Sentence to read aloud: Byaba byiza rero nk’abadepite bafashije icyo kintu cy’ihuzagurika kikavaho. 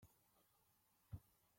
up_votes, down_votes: 0, 2